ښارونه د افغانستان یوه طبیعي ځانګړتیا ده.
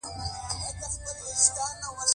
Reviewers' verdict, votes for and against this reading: rejected, 0, 2